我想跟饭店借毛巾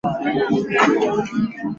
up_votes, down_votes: 0, 2